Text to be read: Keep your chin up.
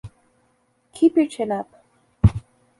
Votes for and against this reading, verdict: 2, 0, accepted